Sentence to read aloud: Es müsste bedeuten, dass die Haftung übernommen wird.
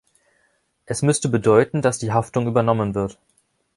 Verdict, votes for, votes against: accepted, 2, 0